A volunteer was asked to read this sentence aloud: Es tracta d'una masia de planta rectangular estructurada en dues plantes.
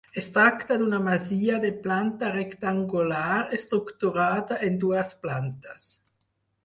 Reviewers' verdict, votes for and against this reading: accepted, 4, 2